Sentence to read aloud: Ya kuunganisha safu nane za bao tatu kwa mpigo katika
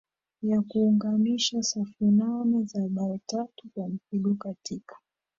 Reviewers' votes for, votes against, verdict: 0, 2, rejected